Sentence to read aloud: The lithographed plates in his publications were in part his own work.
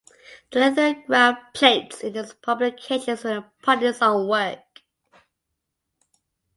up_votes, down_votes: 2, 0